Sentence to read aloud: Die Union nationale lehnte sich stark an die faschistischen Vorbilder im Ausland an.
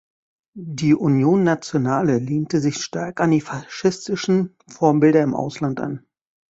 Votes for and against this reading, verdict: 1, 2, rejected